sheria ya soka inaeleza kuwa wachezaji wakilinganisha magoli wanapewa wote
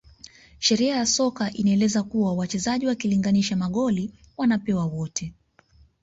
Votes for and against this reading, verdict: 2, 0, accepted